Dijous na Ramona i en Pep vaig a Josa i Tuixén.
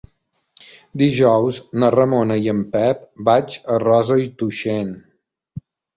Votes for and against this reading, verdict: 0, 3, rejected